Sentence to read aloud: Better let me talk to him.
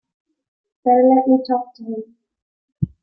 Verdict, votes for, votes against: rejected, 0, 3